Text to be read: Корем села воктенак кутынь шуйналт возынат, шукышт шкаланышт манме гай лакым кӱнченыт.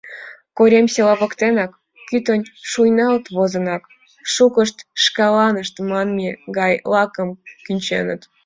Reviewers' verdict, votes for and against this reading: rejected, 3, 4